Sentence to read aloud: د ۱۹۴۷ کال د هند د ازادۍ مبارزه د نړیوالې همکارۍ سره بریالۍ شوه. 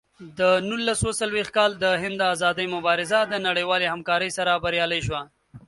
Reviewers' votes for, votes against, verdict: 0, 2, rejected